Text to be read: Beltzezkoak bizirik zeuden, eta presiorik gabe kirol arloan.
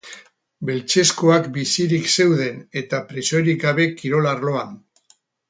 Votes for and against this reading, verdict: 2, 2, rejected